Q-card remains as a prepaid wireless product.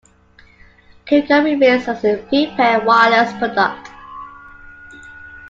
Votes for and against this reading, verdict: 0, 2, rejected